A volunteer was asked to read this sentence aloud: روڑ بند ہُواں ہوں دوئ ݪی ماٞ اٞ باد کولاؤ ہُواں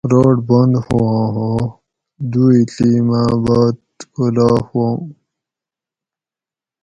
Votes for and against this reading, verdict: 2, 2, rejected